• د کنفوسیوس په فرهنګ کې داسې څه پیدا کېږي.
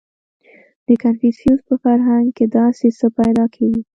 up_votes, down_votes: 1, 2